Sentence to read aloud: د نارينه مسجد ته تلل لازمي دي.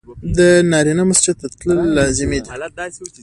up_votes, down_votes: 2, 0